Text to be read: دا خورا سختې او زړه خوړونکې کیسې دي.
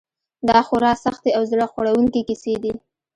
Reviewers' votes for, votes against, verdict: 2, 0, accepted